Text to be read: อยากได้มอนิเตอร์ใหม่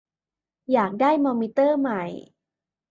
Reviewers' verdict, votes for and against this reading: rejected, 1, 2